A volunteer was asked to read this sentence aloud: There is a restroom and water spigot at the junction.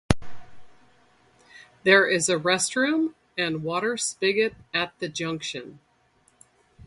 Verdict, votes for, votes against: accepted, 2, 0